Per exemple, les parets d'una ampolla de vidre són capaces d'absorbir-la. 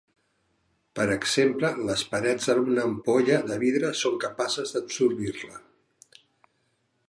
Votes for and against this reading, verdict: 0, 3, rejected